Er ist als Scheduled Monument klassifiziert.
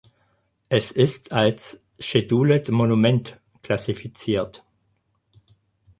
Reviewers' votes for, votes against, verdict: 2, 4, rejected